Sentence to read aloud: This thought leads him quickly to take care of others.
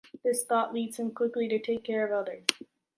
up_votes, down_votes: 2, 0